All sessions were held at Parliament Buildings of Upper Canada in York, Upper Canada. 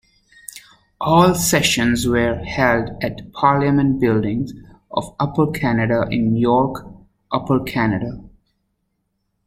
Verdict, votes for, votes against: rejected, 1, 2